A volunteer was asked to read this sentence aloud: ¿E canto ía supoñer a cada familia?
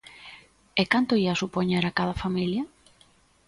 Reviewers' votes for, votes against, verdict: 3, 0, accepted